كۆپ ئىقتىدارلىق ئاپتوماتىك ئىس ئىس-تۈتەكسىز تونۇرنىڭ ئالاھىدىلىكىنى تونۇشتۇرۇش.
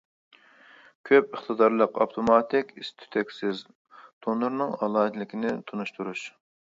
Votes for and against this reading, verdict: 2, 0, accepted